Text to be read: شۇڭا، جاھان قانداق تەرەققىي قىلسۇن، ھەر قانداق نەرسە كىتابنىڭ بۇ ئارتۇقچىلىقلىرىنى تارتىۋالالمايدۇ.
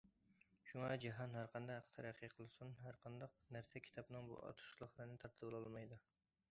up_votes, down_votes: 0, 2